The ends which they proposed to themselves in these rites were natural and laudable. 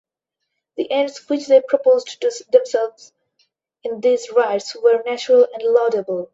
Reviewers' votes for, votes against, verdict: 0, 2, rejected